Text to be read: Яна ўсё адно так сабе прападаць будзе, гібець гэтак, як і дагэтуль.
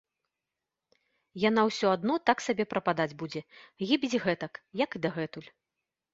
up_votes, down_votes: 2, 1